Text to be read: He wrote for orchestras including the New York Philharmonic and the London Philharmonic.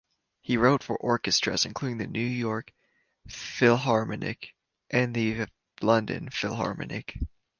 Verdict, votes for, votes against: rejected, 1, 2